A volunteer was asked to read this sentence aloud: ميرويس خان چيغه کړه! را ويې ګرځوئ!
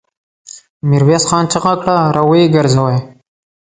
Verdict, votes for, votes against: accepted, 2, 0